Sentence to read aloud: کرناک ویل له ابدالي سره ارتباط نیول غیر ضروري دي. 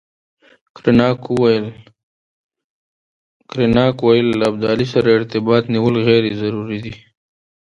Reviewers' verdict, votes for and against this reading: accepted, 2, 1